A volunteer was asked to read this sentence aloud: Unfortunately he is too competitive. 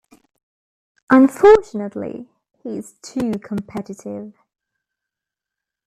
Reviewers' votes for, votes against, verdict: 0, 2, rejected